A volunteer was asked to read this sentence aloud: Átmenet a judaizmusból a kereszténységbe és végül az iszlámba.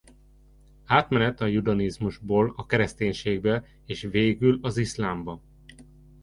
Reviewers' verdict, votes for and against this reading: rejected, 0, 2